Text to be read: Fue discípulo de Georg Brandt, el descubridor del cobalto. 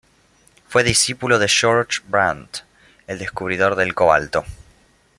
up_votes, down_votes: 2, 0